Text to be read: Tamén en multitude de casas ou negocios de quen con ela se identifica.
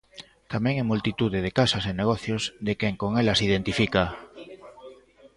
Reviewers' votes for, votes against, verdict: 0, 2, rejected